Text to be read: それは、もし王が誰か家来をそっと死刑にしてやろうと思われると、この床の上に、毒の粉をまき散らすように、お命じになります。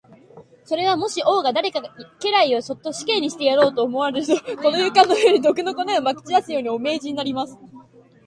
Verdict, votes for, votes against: rejected, 2, 3